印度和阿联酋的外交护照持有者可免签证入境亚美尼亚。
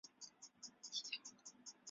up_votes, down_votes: 0, 2